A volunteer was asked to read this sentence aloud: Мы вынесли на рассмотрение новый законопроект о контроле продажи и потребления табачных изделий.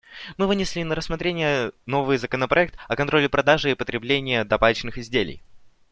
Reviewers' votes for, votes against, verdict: 2, 0, accepted